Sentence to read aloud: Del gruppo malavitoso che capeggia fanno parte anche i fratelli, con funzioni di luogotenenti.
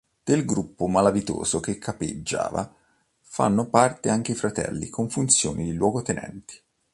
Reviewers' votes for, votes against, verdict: 0, 2, rejected